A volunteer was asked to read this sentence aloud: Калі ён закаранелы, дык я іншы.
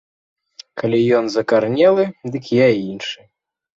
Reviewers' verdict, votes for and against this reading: rejected, 1, 2